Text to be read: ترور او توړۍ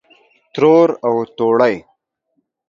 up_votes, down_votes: 2, 0